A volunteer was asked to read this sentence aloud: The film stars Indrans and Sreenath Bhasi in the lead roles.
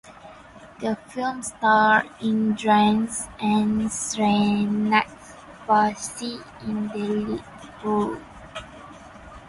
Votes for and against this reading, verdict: 2, 6, rejected